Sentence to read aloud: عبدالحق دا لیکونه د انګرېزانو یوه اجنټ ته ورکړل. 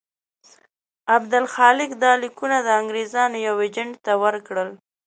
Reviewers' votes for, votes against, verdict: 1, 2, rejected